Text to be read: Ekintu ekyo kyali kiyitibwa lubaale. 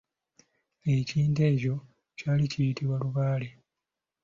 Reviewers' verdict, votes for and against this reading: rejected, 1, 2